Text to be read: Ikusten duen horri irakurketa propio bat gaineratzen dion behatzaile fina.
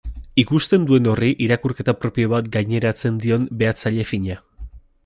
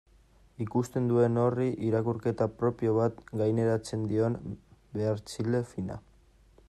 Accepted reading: first